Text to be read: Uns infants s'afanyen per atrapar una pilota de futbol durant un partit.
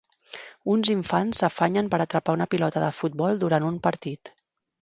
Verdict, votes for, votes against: accepted, 3, 0